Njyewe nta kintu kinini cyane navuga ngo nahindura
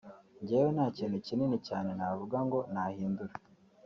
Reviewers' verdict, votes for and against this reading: accepted, 2, 0